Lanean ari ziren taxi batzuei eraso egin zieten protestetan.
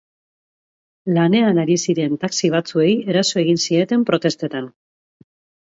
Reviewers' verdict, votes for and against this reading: accepted, 6, 0